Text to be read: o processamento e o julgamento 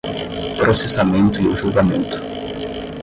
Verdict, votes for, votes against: rejected, 0, 10